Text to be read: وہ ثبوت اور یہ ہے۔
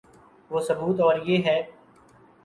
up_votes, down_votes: 8, 0